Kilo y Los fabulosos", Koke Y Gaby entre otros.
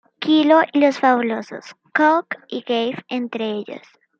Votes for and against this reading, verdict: 0, 2, rejected